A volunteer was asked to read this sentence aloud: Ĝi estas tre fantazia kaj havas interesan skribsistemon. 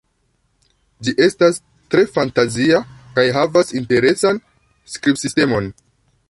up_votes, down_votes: 0, 2